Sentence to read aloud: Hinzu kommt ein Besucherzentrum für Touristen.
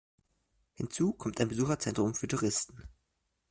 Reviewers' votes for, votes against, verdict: 2, 0, accepted